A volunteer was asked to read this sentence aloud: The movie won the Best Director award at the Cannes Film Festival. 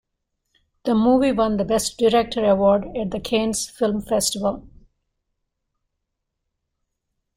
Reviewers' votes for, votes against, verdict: 2, 1, accepted